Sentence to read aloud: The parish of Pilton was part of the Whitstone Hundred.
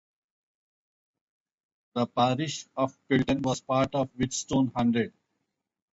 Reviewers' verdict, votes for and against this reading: accepted, 2, 0